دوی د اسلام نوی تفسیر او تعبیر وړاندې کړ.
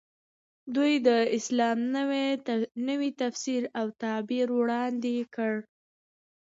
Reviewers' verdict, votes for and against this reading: rejected, 1, 2